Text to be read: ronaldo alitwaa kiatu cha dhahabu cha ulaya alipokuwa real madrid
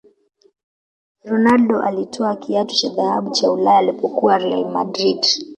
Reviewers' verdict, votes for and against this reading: accepted, 2, 0